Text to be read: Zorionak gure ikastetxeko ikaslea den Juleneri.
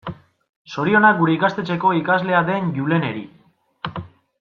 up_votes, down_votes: 2, 0